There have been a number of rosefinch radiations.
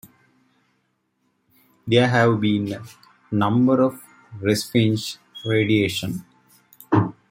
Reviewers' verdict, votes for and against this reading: rejected, 0, 2